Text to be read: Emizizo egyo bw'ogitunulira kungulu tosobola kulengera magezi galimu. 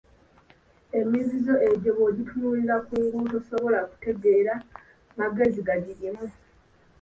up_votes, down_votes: 1, 2